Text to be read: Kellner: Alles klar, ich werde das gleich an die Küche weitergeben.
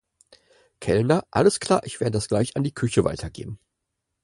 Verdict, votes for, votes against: accepted, 4, 0